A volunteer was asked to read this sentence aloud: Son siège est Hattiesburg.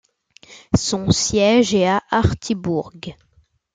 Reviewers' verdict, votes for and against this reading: rejected, 0, 2